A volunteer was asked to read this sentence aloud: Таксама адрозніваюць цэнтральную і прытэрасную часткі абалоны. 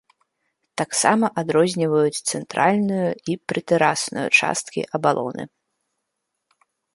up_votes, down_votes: 2, 0